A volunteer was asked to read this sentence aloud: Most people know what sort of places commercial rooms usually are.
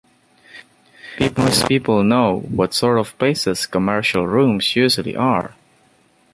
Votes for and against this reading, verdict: 0, 2, rejected